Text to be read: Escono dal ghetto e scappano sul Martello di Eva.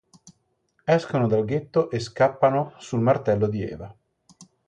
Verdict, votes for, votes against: accepted, 2, 0